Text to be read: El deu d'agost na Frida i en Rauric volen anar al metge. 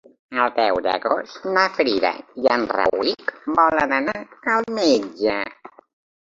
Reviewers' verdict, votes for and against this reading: accepted, 2, 1